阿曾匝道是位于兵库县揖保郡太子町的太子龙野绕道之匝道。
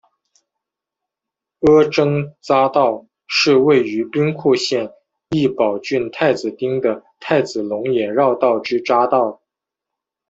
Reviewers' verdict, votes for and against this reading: accepted, 2, 0